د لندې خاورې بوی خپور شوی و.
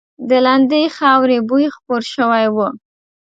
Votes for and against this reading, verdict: 2, 0, accepted